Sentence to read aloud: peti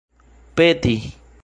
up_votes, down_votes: 2, 0